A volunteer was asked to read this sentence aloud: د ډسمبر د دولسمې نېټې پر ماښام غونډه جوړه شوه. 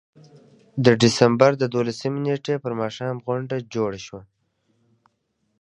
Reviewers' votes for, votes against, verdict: 1, 2, rejected